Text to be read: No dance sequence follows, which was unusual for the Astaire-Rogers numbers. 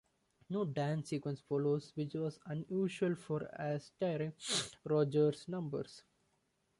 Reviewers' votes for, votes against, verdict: 1, 2, rejected